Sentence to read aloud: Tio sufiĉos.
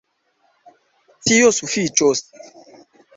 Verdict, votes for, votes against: rejected, 1, 2